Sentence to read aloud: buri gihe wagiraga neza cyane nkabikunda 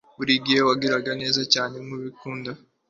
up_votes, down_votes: 2, 1